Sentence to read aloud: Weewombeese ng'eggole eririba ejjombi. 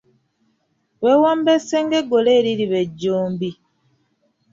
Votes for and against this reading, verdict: 1, 2, rejected